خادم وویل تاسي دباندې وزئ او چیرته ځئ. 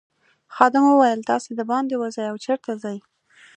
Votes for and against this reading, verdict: 2, 0, accepted